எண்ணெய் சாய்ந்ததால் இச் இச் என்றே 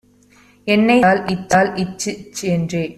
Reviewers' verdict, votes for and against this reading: rejected, 0, 2